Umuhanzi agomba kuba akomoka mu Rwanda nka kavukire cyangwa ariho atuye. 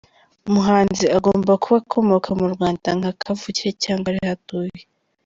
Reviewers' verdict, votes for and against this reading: accepted, 2, 0